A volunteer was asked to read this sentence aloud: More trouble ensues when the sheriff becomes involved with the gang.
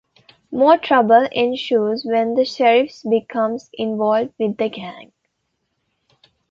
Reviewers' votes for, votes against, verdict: 0, 2, rejected